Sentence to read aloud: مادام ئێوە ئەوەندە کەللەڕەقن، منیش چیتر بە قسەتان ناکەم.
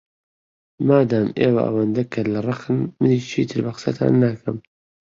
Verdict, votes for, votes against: accepted, 2, 0